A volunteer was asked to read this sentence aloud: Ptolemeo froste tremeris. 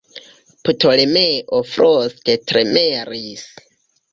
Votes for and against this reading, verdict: 0, 2, rejected